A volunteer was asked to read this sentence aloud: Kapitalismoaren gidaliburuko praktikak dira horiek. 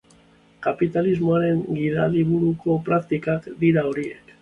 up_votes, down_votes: 2, 0